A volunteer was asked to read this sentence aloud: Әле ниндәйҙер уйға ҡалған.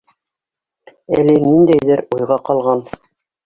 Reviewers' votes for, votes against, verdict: 3, 1, accepted